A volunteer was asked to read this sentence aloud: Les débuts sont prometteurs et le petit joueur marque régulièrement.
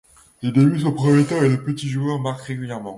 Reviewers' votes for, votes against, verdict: 1, 2, rejected